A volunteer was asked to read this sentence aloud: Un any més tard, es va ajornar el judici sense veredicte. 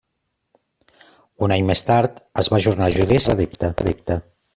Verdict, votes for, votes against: rejected, 0, 2